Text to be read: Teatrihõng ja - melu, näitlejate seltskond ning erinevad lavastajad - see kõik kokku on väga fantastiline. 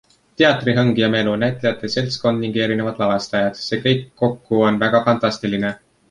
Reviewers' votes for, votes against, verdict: 2, 0, accepted